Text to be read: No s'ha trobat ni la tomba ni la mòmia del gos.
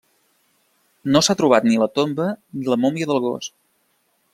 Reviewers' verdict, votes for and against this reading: accepted, 2, 0